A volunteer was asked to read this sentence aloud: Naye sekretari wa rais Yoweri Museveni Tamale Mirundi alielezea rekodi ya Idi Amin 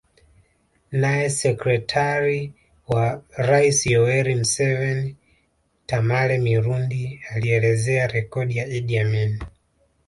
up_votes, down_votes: 1, 2